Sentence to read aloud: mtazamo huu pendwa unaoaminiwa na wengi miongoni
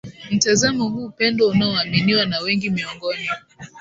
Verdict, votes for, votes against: rejected, 1, 2